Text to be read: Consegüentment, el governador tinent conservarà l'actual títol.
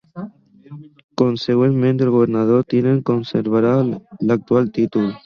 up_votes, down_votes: 2, 1